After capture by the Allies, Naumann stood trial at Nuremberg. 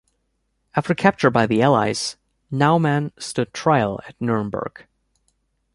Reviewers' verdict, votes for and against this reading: accepted, 2, 0